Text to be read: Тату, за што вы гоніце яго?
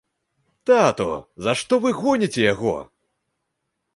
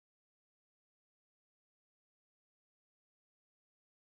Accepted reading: first